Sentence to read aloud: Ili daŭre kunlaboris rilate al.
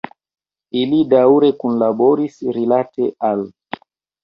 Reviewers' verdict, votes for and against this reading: rejected, 1, 2